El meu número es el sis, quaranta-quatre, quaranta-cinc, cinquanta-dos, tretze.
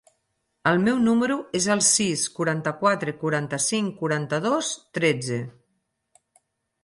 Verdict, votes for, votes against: rejected, 2, 6